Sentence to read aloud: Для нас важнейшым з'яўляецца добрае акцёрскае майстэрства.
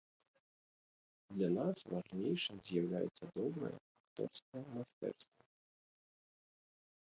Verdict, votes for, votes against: rejected, 1, 2